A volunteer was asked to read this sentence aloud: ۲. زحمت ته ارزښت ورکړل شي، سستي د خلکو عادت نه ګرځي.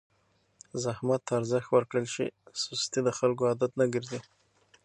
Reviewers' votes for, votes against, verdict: 0, 2, rejected